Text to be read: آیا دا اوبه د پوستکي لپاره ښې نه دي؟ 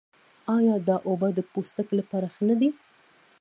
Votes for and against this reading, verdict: 0, 2, rejected